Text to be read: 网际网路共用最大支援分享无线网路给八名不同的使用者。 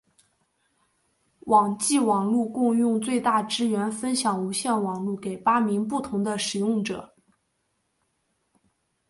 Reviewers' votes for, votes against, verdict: 3, 0, accepted